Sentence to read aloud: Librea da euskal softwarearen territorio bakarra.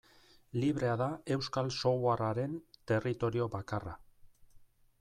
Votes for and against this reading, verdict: 2, 0, accepted